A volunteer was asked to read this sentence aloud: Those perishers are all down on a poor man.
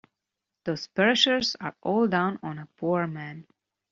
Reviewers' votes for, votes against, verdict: 2, 0, accepted